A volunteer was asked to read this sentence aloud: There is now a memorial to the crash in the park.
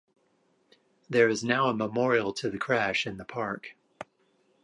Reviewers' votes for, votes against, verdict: 2, 0, accepted